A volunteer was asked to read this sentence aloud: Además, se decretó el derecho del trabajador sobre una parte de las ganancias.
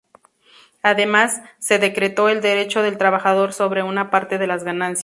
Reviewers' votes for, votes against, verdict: 0, 2, rejected